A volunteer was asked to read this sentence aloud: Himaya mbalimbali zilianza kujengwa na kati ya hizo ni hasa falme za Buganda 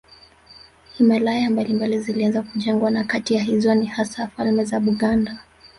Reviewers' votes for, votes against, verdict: 0, 2, rejected